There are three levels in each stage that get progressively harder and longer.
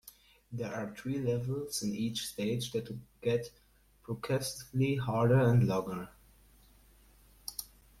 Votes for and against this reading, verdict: 1, 2, rejected